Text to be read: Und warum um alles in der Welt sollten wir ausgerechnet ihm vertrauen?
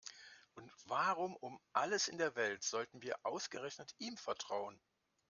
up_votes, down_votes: 2, 0